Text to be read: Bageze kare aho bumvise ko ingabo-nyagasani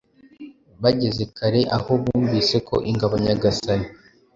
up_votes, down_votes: 2, 0